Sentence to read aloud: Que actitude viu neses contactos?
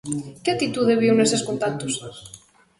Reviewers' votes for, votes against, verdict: 1, 2, rejected